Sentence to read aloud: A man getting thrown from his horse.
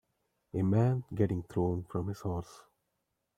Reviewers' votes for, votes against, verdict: 2, 0, accepted